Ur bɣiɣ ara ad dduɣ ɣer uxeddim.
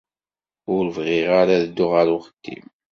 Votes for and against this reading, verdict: 2, 0, accepted